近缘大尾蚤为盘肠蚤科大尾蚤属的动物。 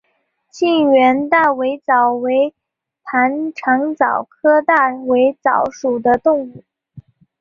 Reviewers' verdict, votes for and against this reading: accepted, 2, 0